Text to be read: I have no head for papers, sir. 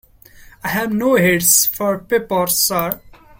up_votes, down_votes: 0, 2